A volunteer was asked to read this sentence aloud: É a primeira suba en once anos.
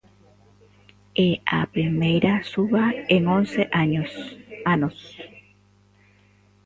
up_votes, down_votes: 0, 2